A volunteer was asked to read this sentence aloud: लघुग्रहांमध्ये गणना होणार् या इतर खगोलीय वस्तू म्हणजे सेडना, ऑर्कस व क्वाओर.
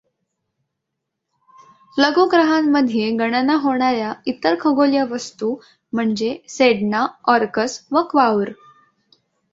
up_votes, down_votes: 2, 0